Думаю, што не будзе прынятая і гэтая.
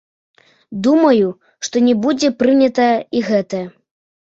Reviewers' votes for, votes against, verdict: 1, 2, rejected